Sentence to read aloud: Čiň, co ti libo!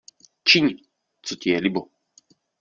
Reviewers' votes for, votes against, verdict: 1, 2, rejected